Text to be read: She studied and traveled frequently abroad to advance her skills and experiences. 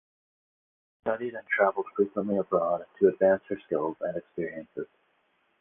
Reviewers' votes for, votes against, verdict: 2, 4, rejected